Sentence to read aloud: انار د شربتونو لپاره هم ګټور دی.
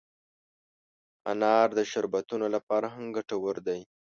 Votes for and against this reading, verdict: 2, 0, accepted